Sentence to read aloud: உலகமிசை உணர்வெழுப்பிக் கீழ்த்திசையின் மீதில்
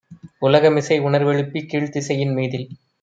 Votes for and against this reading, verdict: 1, 2, rejected